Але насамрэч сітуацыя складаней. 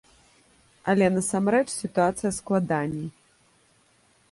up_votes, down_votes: 2, 0